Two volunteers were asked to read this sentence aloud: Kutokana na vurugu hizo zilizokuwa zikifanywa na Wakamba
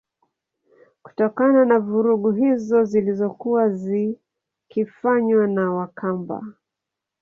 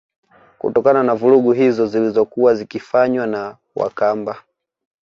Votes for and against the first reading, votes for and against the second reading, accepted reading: 1, 2, 2, 0, second